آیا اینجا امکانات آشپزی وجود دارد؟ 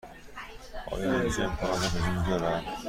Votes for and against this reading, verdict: 2, 0, accepted